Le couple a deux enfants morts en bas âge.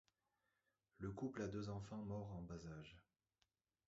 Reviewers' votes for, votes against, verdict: 1, 2, rejected